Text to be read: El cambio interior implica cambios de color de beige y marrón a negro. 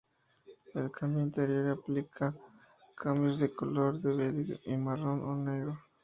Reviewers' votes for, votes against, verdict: 0, 2, rejected